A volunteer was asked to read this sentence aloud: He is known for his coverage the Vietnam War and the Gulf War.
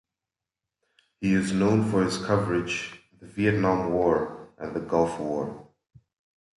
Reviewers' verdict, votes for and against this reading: rejected, 0, 2